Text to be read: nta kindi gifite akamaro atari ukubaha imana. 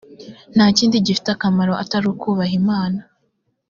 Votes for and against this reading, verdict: 2, 0, accepted